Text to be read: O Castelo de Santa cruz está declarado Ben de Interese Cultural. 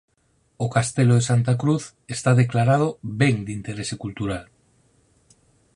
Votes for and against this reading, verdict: 4, 0, accepted